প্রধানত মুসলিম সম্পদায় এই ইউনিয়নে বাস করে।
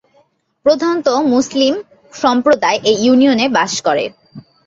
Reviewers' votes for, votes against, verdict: 14, 3, accepted